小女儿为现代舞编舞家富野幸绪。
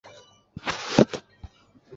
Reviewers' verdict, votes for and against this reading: rejected, 0, 2